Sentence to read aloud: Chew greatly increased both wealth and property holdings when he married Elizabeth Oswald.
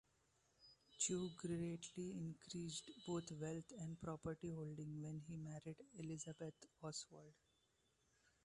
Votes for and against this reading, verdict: 2, 1, accepted